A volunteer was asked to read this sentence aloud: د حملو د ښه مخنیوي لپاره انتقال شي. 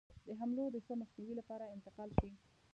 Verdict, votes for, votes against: rejected, 0, 2